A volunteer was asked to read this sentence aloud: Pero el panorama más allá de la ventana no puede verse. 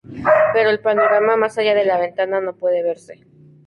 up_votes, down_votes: 0, 2